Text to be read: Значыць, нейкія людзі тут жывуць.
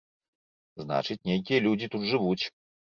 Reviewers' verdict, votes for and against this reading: accepted, 2, 0